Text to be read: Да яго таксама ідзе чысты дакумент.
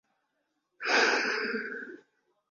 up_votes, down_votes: 0, 2